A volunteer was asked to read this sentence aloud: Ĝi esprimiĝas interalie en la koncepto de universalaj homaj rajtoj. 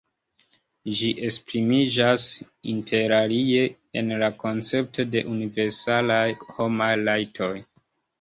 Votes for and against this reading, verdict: 1, 2, rejected